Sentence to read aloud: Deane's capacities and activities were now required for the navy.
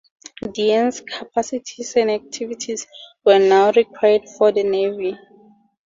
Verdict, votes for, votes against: rejected, 0, 4